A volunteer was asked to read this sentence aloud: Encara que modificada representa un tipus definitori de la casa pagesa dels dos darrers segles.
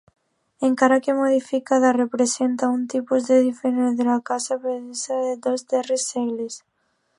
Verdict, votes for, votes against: rejected, 0, 2